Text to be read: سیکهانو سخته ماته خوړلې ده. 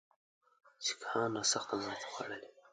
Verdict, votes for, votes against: rejected, 0, 2